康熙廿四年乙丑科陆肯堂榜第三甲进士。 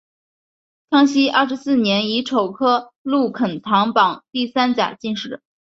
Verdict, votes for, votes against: accepted, 2, 0